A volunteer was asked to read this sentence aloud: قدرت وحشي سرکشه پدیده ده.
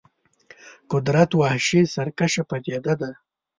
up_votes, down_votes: 3, 0